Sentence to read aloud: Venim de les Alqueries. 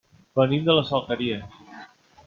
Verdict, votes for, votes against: accepted, 3, 1